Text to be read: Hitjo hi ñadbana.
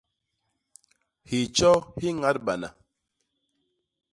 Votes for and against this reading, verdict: 2, 0, accepted